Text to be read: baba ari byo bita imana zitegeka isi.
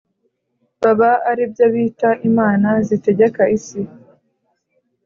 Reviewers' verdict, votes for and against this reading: accepted, 2, 0